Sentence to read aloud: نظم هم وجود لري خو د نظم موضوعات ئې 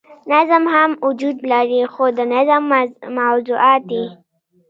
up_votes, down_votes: 2, 0